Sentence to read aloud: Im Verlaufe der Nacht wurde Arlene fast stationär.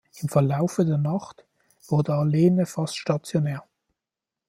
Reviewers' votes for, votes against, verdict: 2, 0, accepted